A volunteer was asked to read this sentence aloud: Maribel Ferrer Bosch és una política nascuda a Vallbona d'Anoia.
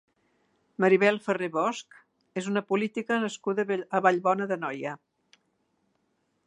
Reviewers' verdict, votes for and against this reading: rejected, 1, 2